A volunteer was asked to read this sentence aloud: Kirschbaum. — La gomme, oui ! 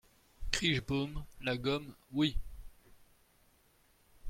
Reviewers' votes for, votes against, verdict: 1, 2, rejected